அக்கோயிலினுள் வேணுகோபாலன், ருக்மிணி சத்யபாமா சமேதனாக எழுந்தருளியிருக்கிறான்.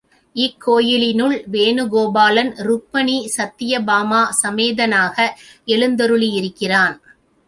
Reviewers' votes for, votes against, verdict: 0, 2, rejected